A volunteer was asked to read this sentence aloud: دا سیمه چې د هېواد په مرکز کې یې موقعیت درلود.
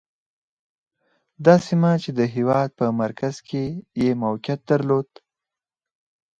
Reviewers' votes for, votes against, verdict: 2, 0, accepted